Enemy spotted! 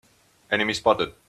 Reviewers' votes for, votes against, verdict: 2, 0, accepted